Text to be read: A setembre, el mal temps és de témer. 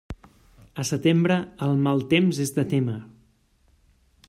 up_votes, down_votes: 2, 0